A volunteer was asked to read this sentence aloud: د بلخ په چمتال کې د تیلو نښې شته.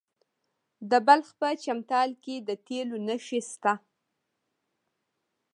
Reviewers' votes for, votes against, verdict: 1, 2, rejected